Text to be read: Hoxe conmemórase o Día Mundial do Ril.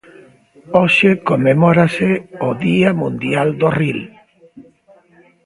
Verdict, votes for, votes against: accepted, 2, 0